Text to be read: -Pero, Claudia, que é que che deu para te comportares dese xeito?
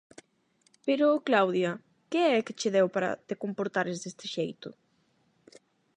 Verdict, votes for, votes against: rejected, 4, 4